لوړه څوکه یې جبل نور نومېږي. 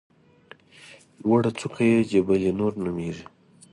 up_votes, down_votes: 2, 0